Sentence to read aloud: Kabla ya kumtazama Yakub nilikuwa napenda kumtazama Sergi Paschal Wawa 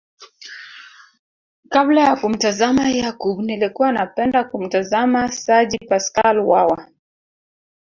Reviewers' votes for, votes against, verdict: 0, 2, rejected